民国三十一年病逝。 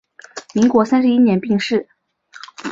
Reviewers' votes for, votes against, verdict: 2, 1, accepted